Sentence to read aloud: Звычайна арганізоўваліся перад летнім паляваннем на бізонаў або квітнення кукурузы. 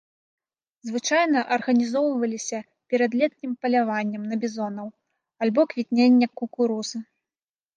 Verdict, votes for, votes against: rejected, 1, 2